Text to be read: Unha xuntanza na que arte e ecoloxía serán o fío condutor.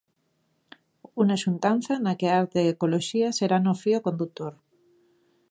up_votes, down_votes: 1, 2